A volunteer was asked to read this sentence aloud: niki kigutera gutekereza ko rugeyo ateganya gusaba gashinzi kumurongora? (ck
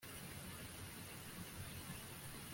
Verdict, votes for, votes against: rejected, 0, 2